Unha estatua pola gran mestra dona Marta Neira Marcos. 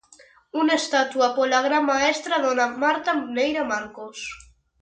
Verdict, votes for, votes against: rejected, 0, 2